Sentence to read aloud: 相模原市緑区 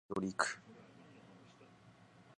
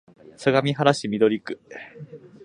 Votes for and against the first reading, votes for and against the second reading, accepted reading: 1, 2, 2, 0, second